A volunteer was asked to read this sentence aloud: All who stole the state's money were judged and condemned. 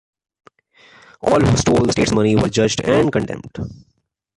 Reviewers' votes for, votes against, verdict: 2, 0, accepted